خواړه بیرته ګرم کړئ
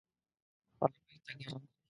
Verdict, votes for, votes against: rejected, 0, 2